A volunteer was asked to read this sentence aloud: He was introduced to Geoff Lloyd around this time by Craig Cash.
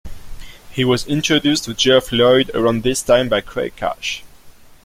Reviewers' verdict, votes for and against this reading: accepted, 2, 0